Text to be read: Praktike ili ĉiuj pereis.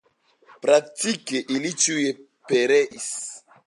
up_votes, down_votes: 2, 0